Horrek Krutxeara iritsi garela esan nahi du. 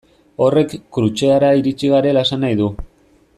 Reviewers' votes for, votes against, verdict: 2, 0, accepted